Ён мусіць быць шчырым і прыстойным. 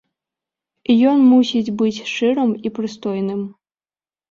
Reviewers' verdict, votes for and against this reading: accepted, 2, 0